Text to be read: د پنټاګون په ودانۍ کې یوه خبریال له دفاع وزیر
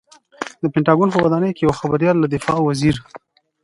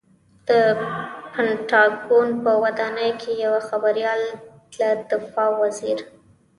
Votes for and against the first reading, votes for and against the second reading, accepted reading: 2, 1, 1, 2, first